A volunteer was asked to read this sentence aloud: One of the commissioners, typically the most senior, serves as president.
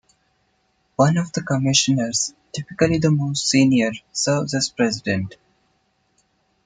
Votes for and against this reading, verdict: 2, 0, accepted